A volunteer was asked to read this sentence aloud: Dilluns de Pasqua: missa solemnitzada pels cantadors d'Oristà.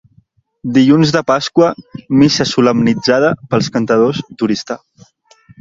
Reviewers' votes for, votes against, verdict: 2, 0, accepted